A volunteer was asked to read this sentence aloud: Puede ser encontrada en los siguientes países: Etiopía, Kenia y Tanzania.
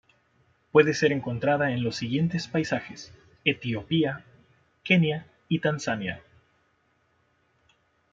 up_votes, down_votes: 0, 2